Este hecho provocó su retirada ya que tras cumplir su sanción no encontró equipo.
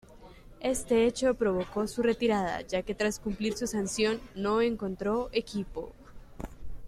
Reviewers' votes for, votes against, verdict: 2, 0, accepted